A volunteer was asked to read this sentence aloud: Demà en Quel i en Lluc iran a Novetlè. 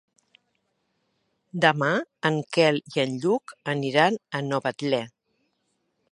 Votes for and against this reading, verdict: 0, 3, rejected